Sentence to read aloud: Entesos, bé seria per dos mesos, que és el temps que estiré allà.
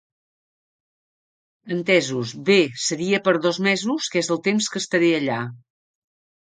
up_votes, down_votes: 1, 2